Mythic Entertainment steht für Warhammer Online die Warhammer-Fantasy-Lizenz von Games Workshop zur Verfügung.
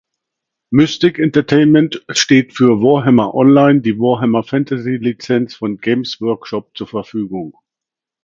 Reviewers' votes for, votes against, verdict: 2, 1, accepted